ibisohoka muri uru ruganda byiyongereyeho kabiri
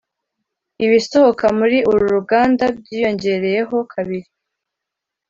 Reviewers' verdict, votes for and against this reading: accepted, 2, 0